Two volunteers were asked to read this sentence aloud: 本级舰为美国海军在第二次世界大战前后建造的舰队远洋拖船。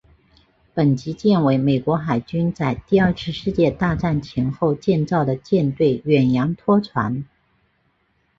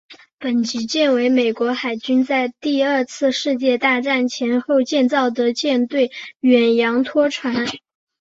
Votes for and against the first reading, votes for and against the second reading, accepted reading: 1, 2, 2, 0, second